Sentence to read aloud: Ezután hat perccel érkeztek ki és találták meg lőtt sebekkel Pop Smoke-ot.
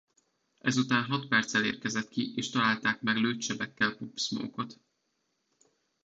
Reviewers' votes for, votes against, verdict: 0, 2, rejected